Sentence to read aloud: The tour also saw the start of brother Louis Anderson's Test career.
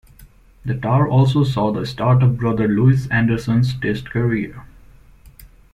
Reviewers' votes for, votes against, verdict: 0, 2, rejected